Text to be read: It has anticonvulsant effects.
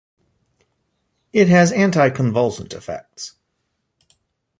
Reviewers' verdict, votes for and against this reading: accepted, 2, 0